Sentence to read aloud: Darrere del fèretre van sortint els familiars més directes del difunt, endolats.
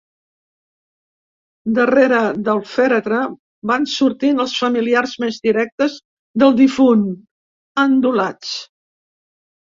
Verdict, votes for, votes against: accepted, 2, 0